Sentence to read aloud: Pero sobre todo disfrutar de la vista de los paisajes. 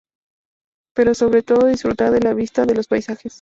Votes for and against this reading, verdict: 2, 0, accepted